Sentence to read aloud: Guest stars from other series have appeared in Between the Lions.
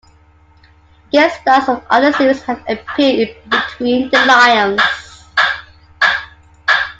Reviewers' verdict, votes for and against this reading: rejected, 1, 2